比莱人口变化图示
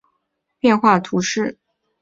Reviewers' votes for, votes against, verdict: 2, 4, rejected